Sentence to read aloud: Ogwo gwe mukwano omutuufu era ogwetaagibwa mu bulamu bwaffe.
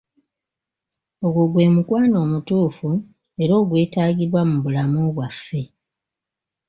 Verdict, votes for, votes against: accepted, 2, 1